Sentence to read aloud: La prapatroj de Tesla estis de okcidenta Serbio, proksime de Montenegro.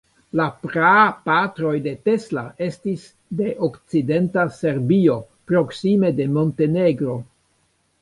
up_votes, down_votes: 1, 2